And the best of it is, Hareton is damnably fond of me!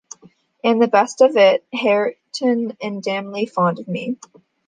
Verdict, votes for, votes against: rejected, 0, 2